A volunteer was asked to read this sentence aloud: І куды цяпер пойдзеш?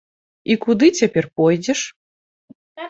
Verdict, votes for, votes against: rejected, 1, 2